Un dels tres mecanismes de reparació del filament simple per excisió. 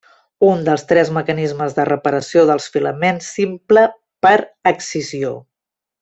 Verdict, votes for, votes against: rejected, 0, 2